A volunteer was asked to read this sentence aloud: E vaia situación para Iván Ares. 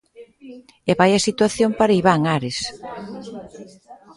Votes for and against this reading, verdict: 2, 0, accepted